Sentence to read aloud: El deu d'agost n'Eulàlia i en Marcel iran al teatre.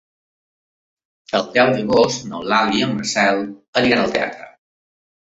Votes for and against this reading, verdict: 1, 2, rejected